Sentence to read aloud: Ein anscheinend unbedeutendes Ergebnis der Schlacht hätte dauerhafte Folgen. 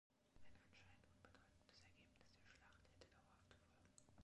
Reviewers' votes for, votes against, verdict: 2, 0, accepted